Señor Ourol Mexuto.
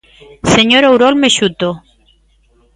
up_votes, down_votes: 2, 0